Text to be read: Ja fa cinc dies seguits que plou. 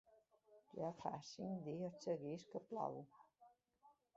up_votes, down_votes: 2, 1